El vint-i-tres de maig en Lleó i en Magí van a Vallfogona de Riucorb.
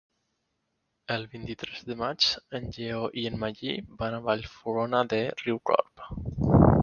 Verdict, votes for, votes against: accepted, 2, 0